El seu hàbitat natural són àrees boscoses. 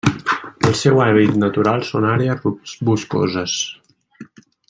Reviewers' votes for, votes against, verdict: 1, 2, rejected